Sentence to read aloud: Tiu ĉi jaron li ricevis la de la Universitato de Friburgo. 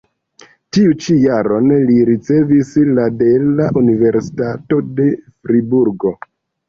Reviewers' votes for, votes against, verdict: 1, 2, rejected